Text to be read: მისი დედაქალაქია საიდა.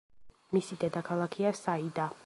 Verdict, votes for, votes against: rejected, 1, 2